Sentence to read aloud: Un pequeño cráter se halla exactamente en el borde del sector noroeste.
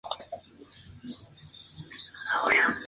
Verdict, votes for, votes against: rejected, 0, 2